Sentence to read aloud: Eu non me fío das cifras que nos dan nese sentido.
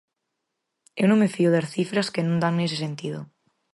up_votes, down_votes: 0, 4